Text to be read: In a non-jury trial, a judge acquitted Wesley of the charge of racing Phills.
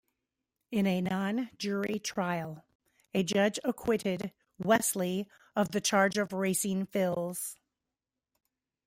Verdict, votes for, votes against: rejected, 0, 2